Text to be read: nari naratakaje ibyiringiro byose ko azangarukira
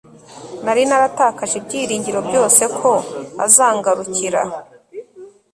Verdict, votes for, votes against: accepted, 4, 0